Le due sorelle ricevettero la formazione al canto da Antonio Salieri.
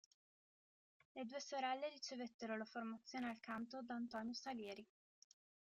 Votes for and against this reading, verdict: 2, 1, accepted